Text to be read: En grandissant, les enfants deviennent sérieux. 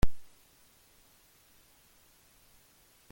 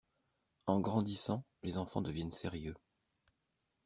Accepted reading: second